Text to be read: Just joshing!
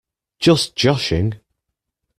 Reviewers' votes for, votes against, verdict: 2, 0, accepted